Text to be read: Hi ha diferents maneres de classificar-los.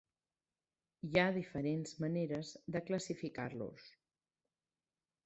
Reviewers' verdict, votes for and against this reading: accepted, 4, 0